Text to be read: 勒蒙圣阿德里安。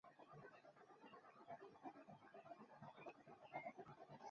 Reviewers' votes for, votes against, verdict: 1, 4, rejected